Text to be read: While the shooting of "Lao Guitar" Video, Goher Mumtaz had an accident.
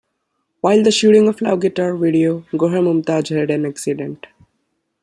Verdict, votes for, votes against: rejected, 1, 2